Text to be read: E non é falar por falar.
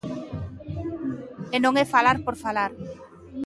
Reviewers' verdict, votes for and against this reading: rejected, 1, 2